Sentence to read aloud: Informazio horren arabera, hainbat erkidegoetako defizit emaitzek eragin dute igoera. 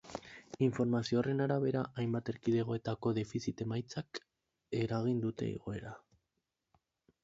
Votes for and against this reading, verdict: 0, 2, rejected